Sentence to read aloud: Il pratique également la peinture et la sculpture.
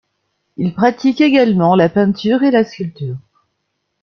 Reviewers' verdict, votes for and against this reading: accepted, 2, 1